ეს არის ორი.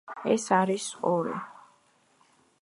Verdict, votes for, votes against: accepted, 2, 0